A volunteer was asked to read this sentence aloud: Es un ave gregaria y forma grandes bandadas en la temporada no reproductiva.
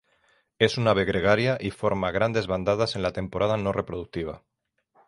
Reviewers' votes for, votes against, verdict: 3, 0, accepted